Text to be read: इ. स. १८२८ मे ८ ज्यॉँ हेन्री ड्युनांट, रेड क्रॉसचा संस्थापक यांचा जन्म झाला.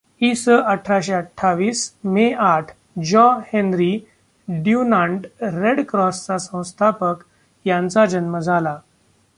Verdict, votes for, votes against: rejected, 0, 2